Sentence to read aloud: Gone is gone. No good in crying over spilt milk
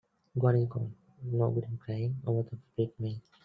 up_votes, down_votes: 0, 2